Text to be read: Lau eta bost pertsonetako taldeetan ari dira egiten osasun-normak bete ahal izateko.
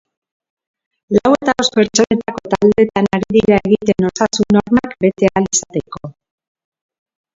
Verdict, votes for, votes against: rejected, 0, 2